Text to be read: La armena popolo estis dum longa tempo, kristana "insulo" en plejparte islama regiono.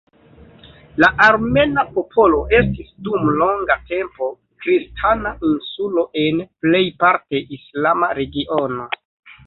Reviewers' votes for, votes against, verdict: 2, 1, accepted